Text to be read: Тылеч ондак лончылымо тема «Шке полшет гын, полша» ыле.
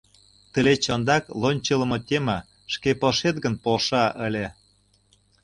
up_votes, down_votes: 2, 0